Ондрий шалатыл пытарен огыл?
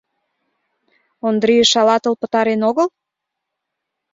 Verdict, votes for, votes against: accepted, 2, 0